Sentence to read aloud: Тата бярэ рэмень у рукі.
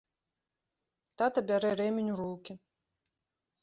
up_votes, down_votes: 0, 2